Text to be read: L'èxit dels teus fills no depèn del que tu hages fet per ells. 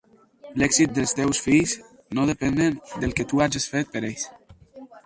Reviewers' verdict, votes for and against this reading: accepted, 4, 2